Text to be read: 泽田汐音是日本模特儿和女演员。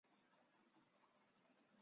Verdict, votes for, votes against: rejected, 0, 3